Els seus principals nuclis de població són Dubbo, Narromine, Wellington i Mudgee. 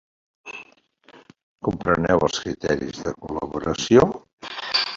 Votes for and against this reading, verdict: 2, 1, accepted